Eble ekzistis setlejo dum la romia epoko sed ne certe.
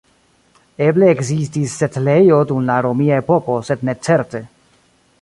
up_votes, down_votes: 2, 0